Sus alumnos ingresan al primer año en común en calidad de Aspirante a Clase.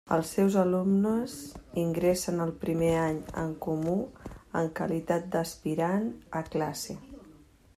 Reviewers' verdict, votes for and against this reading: rejected, 0, 2